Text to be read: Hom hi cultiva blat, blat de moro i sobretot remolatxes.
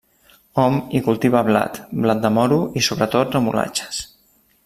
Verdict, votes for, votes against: accepted, 2, 0